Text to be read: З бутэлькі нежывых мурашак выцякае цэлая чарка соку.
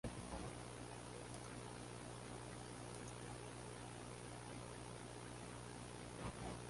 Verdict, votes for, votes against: rejected, 0, 3